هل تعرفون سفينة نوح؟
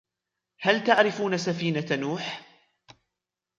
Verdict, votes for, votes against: accepted, 2, 1